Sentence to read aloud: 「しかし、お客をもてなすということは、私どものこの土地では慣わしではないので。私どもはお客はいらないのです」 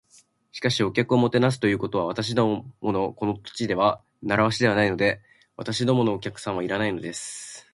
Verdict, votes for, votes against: rejected, 1, 2